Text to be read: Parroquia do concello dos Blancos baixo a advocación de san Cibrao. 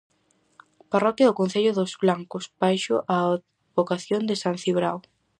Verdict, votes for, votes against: rejected, 2, 2